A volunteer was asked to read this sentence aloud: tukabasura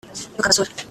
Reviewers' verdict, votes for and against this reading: rejected, 0, 2